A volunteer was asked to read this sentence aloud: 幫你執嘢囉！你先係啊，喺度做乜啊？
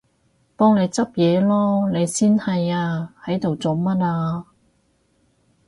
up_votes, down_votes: 2, 0